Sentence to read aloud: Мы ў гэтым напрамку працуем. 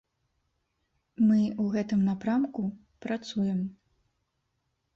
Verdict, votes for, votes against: rejected, 1, 2